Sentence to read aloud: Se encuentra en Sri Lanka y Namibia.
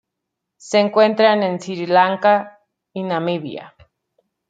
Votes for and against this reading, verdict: 1, 2, rejected